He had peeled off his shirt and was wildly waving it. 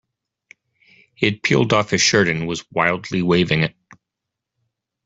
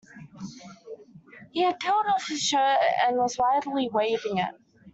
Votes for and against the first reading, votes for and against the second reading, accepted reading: 1, 2, 2, 0, second